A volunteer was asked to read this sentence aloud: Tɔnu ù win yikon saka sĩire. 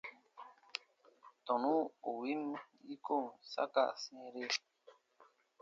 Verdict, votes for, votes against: accepted, 3, 0